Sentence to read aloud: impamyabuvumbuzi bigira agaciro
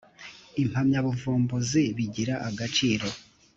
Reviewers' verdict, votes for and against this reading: accepted, 3, 0